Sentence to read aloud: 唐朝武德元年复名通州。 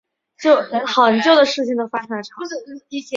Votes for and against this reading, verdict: 1, 2, rejected